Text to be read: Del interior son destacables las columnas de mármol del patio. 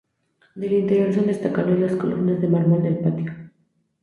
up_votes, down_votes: 0, 4